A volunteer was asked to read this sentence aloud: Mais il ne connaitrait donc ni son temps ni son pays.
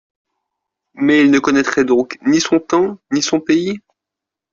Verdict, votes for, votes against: accepted, 2, 0